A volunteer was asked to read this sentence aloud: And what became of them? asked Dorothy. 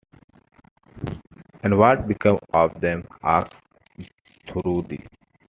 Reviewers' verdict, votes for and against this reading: rejected, 0, 2